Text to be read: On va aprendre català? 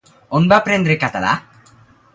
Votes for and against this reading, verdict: 2, 0, accepted